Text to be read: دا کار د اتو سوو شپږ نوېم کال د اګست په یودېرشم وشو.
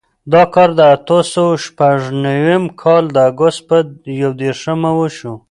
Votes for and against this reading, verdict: 2, 0, accepted